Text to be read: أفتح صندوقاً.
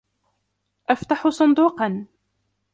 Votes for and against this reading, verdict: 2, 1, accepted